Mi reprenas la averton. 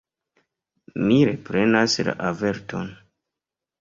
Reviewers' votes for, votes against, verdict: 2, 0, accepted